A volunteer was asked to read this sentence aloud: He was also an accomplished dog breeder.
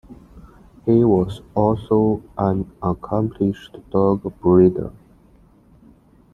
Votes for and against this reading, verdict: 2, 0, accepted